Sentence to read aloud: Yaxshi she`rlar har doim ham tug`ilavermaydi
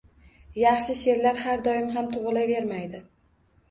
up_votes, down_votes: 2, 0